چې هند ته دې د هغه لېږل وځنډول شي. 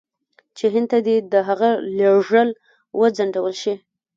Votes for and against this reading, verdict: 2, 1, accepted